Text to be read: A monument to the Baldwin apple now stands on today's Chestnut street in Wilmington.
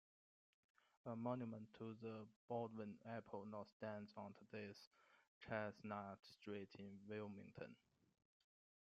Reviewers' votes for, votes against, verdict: 0, 2, rejected